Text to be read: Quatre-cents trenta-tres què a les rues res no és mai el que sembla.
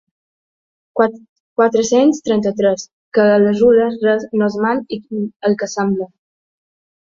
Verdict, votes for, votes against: rejected, 0, 2